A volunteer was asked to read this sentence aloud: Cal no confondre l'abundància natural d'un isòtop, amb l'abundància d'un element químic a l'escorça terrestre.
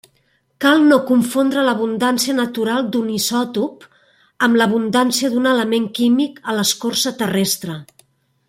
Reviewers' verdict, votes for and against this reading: accepted, 3, 0